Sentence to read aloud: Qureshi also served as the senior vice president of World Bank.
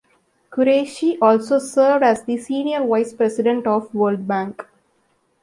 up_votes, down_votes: 2, 0